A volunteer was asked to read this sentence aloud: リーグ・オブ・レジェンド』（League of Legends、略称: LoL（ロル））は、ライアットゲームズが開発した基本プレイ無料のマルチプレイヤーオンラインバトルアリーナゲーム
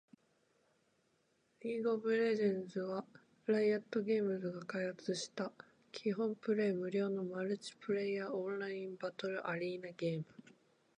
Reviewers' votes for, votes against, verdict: 0, 2, rejected